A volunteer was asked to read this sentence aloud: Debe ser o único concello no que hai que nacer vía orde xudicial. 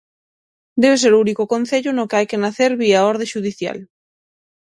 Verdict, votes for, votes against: accepted, 6, 0